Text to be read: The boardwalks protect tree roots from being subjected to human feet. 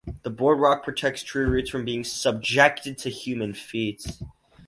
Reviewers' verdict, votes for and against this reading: rejected, 2, 2